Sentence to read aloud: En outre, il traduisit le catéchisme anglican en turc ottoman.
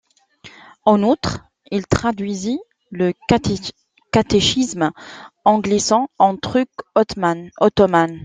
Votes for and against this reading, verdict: 1, 2, rejected